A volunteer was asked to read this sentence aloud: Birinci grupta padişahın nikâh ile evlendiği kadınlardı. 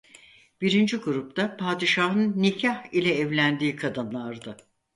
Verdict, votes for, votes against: accepted, 4, 0